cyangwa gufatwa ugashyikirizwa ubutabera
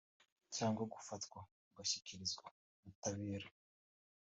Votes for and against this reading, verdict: 4, 1, accepted